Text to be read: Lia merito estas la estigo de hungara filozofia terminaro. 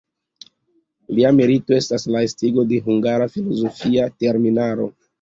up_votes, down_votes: 2, 0